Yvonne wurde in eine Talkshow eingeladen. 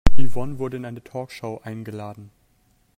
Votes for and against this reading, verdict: 3, 1, accepted